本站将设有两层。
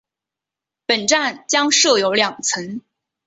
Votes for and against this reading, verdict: 2, 0, accepted